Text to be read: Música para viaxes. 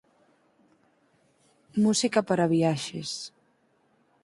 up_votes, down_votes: 4, 0